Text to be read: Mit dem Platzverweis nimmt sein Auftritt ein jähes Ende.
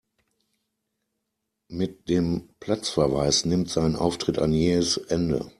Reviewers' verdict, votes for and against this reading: accepted, 2, 0